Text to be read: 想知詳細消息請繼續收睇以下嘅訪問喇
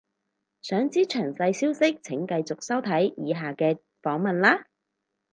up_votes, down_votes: 4, 0